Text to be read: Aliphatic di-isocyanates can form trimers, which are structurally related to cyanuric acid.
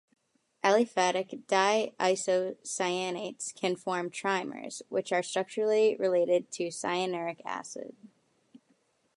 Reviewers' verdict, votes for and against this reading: accepted, 2, 0